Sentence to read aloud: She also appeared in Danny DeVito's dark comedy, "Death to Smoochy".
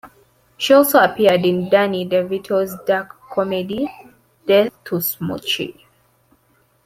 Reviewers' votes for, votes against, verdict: 2, 0, accepted